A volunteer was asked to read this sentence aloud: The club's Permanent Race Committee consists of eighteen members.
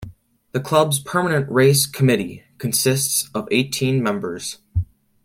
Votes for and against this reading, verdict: 2, 0, accepted